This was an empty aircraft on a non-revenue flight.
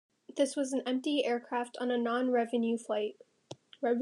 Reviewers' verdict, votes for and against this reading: rejected, 1, 2